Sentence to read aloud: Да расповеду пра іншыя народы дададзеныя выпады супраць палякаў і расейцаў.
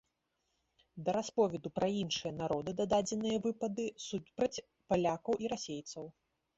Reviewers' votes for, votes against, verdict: 1, 2, rejected